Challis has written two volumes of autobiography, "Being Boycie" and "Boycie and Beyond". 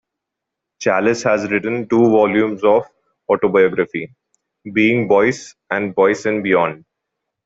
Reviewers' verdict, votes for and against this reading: accepted, 2, 0